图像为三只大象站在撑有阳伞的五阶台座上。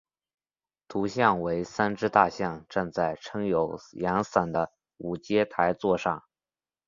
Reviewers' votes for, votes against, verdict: 2, 0, accepted